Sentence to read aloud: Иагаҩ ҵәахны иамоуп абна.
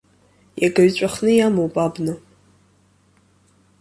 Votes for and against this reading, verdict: 2, 1, accepted